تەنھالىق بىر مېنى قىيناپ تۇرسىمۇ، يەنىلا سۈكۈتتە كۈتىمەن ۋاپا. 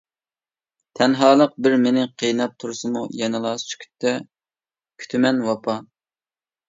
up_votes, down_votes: 2, 0